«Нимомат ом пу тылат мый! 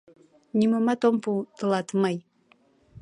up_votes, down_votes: 2, 0